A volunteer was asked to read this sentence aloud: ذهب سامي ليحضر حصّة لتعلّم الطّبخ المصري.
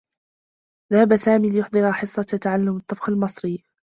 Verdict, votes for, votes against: rejected, 0, 2